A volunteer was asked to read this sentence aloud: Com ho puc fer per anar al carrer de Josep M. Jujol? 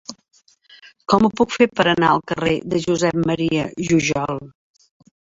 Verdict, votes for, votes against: accepted, 2, 1